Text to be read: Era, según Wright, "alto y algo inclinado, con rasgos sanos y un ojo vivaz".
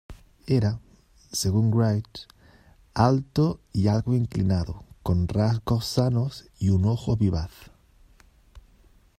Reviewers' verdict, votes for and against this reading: rejected, 0, 2